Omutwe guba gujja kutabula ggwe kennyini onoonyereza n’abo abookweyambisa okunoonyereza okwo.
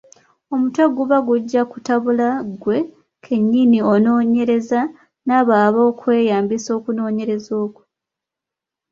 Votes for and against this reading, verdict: 2, 0, accepted